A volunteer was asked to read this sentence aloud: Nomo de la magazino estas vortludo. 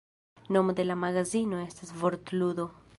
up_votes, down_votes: 2, 3